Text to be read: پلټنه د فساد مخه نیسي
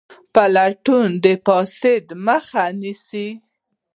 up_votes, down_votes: 1, 2